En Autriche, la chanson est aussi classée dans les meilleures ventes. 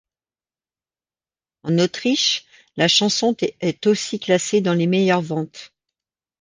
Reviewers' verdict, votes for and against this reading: accepted, 2, 1